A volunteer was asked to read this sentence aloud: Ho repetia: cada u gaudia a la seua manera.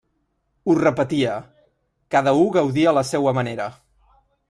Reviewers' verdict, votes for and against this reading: accepted, 2, 0